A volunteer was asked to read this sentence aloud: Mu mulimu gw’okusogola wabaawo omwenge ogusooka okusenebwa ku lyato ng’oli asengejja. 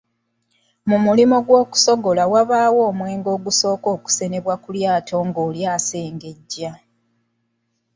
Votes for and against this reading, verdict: 2, 0, accepted